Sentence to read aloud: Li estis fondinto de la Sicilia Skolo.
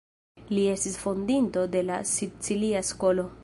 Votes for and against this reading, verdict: 2, 0, accepted